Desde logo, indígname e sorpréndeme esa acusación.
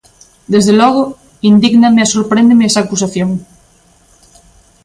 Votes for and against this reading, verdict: 2, 0, accepted